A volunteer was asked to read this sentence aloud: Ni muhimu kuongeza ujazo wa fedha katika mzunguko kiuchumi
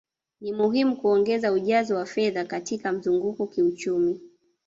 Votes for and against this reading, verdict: 0, 2, rejected